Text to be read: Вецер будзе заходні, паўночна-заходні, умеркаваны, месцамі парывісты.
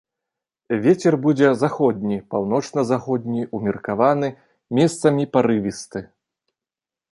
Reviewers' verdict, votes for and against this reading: accepted, 2, 0